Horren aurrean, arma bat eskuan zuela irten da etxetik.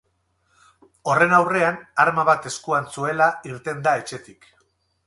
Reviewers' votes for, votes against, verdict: 2, 2, rejected